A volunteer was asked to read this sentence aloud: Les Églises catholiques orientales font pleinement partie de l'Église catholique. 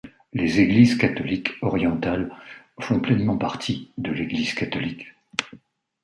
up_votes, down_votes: 2, 1